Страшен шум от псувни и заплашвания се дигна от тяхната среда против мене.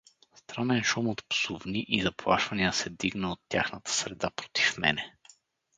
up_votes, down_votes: 2, 2